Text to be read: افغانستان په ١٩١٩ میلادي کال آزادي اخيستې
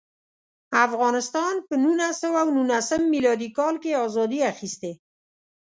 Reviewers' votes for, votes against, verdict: 0, 2, rejected